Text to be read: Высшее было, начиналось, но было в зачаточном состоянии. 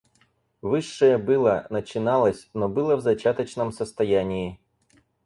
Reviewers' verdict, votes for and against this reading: accepted, 4, 0